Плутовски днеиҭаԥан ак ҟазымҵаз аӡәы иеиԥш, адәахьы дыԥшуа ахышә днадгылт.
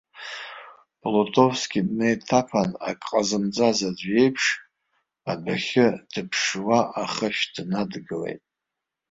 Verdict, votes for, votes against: rejected, 0, 2